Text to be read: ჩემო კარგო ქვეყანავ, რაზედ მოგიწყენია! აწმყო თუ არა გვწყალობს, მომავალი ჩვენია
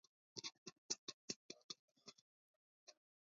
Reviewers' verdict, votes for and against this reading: accepted, 2, 1